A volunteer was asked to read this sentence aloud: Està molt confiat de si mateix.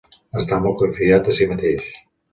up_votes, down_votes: 2, 1